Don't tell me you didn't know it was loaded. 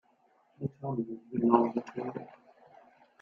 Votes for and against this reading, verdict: 0, 2, rejected